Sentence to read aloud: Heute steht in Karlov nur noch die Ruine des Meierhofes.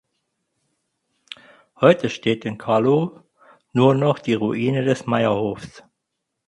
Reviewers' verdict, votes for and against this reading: rejected, 0, 4